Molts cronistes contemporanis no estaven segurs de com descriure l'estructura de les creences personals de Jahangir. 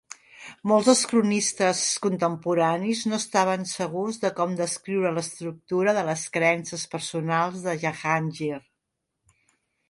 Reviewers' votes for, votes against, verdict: 0, 2, rejected